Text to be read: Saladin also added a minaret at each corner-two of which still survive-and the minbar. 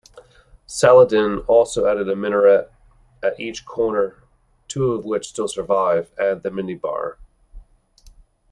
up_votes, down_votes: 1, 2